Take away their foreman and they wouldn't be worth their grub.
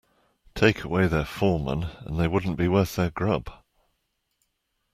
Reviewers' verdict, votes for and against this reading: accepted, 2, 1